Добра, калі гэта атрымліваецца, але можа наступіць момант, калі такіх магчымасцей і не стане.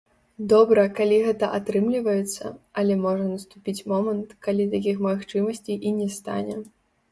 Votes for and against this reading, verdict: 0, 3, rejected